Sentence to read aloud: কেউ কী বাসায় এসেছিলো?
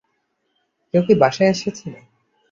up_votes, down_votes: 2, 1